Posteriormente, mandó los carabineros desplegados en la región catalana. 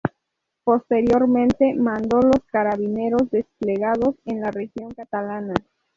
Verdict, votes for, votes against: accepted, 2, 0